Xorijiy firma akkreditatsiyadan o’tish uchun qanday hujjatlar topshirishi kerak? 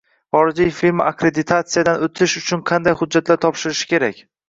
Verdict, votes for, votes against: accepted, 2, 0